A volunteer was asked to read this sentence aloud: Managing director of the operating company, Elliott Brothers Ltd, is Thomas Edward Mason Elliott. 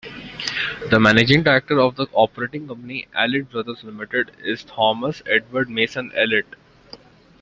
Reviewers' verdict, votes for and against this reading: rejected, 1, 2